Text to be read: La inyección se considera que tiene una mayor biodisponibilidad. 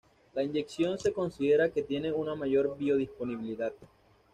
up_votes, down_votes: 2, 0